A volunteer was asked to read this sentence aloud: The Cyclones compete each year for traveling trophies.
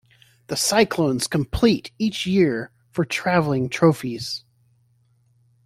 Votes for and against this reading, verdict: 1, 2, rejected